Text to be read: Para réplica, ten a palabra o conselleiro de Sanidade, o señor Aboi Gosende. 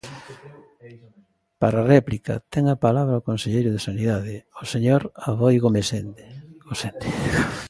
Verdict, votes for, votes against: rejected, 0, 2